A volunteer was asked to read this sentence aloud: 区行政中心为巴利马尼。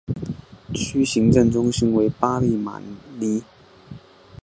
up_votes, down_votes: 2, 0